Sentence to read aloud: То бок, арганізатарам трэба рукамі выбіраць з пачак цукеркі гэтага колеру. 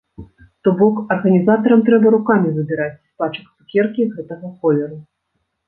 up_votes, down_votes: 1, 2